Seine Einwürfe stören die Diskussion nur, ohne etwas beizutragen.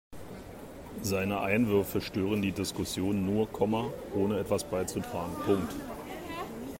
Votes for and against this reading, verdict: 0, 2, rejected